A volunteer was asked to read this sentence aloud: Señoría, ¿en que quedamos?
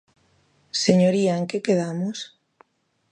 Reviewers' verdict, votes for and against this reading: accepted, 2, 0